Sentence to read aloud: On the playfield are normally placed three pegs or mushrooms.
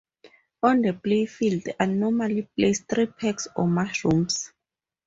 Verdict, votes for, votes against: rejected, 0, 2